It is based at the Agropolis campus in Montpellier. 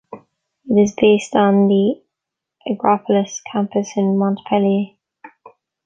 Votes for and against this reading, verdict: 2, 1, accepted